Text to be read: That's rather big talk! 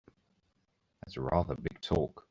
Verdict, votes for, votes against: accepted, 2, 0